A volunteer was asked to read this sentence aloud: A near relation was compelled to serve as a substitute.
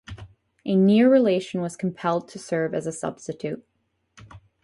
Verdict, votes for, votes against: accepted, 4, 0